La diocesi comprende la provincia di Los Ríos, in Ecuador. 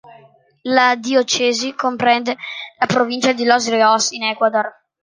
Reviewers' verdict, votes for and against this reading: rejected, 1, 2